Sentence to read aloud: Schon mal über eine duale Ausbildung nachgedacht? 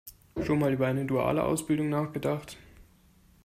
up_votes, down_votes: 2, 0